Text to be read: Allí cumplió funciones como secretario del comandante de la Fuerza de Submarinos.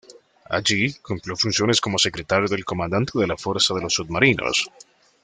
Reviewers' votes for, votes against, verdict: 1, 2, rejected